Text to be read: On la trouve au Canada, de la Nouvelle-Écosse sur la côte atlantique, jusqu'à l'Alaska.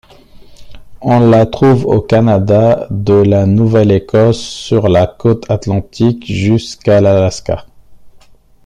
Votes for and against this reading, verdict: 2, 0, accepted